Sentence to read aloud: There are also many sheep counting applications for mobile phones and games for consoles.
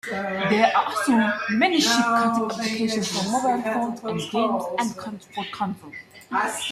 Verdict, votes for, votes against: rejected, 0, 2